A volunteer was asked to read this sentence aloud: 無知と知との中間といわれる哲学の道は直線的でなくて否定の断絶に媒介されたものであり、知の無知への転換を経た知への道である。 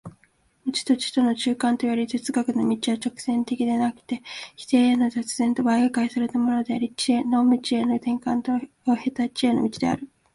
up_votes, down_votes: 2, 1